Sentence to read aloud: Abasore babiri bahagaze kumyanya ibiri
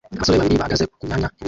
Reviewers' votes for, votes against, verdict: 0, 2, rejected